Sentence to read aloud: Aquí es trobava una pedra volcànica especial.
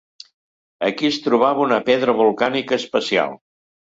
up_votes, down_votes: 2, 0